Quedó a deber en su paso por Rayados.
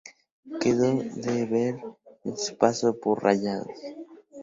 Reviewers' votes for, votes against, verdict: 0, 2, rejected